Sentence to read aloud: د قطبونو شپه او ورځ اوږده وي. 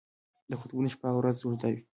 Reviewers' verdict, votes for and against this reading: accepted, 2, 0